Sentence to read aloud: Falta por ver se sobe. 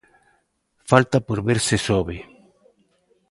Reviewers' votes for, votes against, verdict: 1, 2, rejected